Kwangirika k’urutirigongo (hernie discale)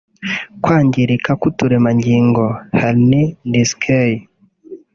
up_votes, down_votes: 1, 2